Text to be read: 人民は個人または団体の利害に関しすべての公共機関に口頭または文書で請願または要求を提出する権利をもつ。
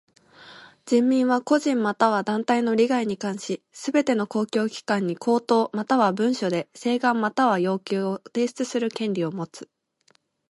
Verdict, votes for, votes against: rejected, 1, 2